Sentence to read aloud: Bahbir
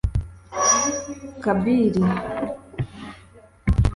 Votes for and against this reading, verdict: 0, 2, rejected